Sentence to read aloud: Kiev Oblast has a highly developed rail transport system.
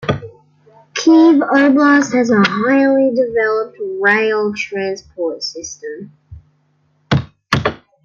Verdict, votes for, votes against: rejected, 1, 2